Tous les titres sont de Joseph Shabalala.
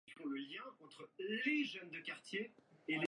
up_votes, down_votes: 0, 2